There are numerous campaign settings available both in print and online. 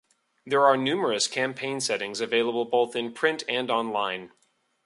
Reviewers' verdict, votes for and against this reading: accepted, 2, 0